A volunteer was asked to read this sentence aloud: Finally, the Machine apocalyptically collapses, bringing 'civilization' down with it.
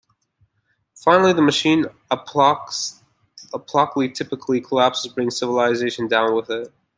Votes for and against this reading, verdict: 0, 2, rejected